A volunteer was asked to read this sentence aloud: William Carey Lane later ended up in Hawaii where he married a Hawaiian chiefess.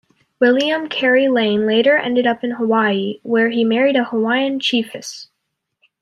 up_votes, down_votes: 2, 0